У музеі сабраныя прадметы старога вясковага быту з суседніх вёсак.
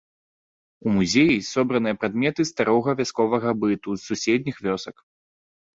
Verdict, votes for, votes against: rejected, 0, 2